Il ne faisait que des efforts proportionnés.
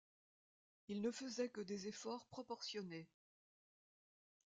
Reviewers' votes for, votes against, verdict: 1, 2, rejected